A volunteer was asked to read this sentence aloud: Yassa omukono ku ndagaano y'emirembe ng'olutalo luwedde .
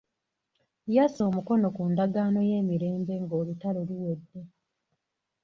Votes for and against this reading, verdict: 1, 2, rejected